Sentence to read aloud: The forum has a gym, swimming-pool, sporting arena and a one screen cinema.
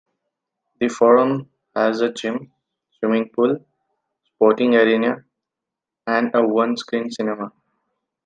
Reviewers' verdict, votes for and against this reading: accepted, 2, 0